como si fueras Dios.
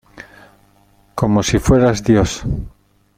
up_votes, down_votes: 2, 0